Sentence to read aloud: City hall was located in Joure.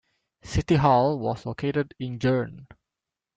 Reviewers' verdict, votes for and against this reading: accepted, 2, 0